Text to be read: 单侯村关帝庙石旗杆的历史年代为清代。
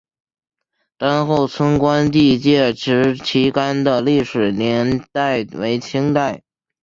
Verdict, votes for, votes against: accepted, 6, 0